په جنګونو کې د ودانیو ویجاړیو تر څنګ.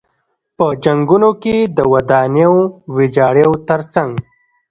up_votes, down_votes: 2, 0